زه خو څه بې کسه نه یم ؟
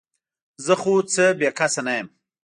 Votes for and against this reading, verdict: 1, 2, rejected